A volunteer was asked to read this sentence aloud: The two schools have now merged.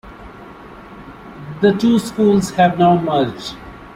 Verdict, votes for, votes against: rejected, 0, 2